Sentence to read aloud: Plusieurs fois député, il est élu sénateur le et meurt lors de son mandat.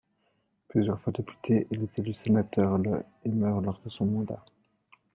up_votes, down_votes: 1, 2